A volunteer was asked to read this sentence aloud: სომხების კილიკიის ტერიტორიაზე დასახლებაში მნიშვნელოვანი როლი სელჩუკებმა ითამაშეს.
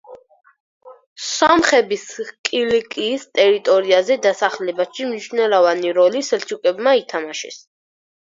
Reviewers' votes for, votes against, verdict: 0, 4, rejected